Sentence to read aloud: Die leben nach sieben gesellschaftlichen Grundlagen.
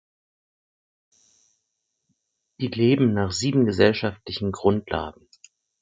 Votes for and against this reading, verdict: 4, 0, accepted